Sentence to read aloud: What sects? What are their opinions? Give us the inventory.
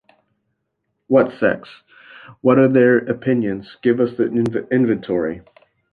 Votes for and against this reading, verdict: 0, 2, rejected